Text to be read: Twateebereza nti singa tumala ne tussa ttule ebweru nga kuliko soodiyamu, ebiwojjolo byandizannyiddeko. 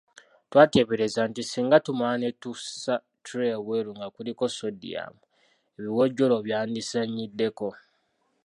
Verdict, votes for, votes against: accepted, 2, 0